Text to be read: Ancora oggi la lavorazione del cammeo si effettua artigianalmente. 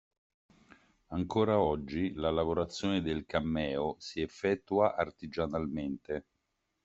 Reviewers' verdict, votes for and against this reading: accepted, 2, 0